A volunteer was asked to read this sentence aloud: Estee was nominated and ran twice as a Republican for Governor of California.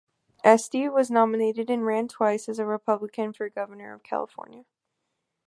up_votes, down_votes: 2, 0